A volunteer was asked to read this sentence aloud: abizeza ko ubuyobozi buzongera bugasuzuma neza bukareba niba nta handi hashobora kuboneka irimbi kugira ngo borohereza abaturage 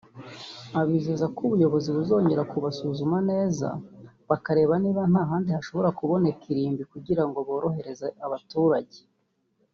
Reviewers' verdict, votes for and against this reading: rejected, 1, 2